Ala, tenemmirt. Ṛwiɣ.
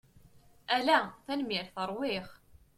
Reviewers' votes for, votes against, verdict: 2, 0, accepted